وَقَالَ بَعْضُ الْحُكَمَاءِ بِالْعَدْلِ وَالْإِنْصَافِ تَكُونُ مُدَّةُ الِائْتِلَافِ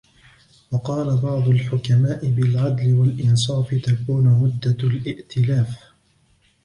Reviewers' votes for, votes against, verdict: 2, 1, accepted